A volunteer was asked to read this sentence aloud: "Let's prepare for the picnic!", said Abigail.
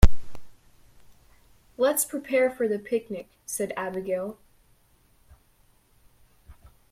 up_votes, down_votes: 2, 0